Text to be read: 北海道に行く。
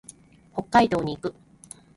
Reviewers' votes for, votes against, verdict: 0, 2, rejected